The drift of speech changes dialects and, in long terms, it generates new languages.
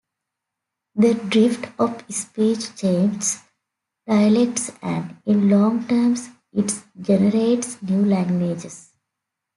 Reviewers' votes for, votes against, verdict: 2, 1, accepted